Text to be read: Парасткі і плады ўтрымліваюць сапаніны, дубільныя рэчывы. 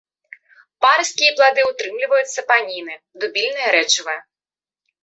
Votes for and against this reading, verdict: 2, 0, accepted